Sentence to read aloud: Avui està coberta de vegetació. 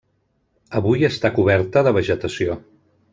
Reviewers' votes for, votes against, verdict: 3, 0, accepted